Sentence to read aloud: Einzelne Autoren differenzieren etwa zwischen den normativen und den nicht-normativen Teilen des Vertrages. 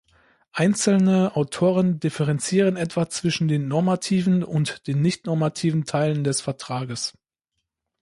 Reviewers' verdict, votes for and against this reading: accepted, 2, 0